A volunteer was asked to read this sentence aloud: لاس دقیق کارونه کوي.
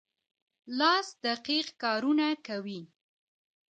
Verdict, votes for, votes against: accepted, 3, 0